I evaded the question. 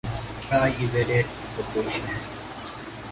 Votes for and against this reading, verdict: 2, 4, rejected